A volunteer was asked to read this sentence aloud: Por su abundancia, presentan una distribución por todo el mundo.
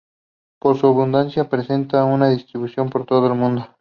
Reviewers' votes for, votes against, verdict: 2, 2, rejected